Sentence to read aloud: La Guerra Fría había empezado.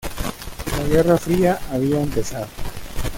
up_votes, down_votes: 1, 2